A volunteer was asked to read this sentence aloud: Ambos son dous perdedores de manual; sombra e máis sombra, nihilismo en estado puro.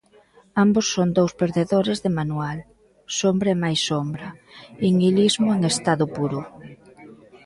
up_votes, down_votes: 0, 2